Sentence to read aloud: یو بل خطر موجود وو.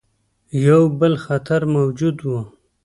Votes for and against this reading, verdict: 2, 0, accepted